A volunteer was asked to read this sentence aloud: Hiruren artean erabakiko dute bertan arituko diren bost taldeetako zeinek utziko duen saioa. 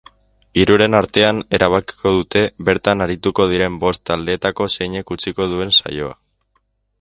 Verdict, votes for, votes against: accepted, 2, 0